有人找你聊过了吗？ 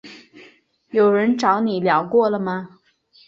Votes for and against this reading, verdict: 8, 0, accepted